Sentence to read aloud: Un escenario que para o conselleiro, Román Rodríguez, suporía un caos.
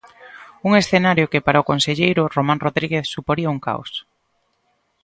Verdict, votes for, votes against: accepted, 2, 0